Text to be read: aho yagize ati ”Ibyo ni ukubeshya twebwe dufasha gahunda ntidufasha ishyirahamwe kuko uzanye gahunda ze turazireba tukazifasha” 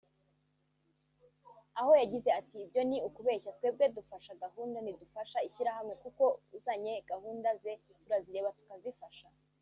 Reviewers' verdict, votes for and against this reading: rejected, 0, 2